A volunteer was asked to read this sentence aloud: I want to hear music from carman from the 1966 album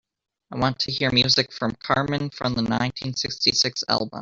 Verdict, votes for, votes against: rejected, 0, 2